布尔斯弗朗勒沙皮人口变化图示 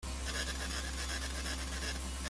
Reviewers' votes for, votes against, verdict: 0, 2, rejected